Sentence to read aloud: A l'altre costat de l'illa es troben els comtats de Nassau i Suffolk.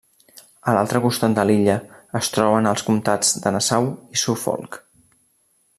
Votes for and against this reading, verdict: 2, 0, accepted